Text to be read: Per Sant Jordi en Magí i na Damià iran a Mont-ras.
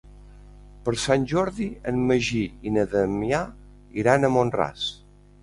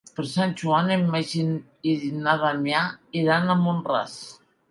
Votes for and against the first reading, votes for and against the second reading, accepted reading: 2, 0, 1, 2, first